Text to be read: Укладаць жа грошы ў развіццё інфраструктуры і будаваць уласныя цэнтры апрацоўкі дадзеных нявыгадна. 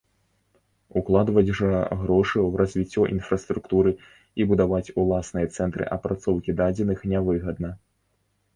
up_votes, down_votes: 1, 2